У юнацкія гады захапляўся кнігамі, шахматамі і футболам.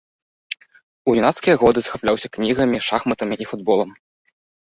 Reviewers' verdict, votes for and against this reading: rejected, 0, 2